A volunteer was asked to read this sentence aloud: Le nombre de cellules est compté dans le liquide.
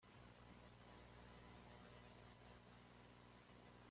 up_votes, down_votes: 0, 2